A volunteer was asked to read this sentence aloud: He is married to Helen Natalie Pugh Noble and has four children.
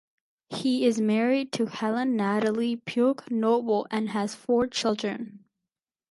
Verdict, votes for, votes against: accepted, 2, 0